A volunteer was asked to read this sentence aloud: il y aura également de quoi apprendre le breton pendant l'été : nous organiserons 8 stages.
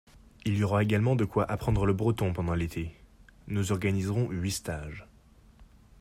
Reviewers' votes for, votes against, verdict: 0, 2, rejected